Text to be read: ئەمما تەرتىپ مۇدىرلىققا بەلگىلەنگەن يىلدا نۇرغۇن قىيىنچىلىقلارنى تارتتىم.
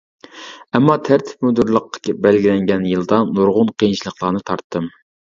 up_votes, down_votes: 1, 2